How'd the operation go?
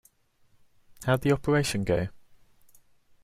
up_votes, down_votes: 2, 0